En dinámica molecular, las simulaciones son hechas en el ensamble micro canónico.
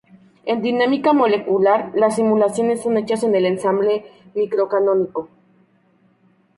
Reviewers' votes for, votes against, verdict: 0, 2, rejected